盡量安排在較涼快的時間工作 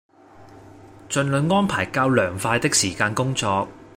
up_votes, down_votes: 1, 2